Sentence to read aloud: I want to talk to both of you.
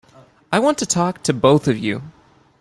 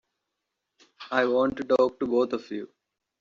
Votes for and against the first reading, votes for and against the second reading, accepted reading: 2, 0, 1, 2, first